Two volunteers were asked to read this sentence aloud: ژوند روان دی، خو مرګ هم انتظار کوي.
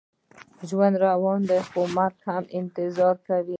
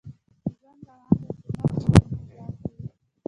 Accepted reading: first